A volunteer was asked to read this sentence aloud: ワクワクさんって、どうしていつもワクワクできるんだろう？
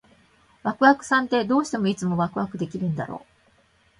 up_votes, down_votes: 0, 2